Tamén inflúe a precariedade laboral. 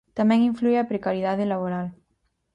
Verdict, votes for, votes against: accepted, 4, 0